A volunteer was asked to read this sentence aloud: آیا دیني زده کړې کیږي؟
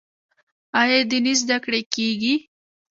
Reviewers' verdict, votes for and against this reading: rejected, 1, 2